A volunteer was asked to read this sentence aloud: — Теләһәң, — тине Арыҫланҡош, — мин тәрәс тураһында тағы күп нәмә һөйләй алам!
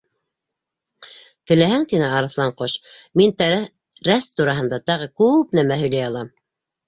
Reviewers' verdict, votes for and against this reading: rejected, 0, 2